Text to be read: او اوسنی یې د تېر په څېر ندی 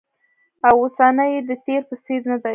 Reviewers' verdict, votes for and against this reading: rejected, 1, 2